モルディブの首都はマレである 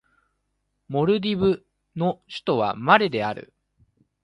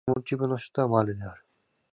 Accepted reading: first